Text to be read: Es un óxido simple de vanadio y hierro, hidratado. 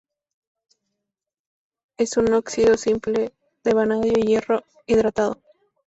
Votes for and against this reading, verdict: 2, 0, accepted